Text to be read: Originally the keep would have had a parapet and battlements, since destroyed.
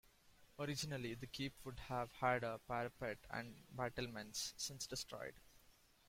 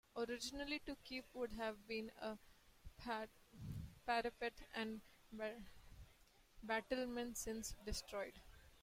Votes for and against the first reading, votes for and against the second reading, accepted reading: 2, 0, 1, 2, first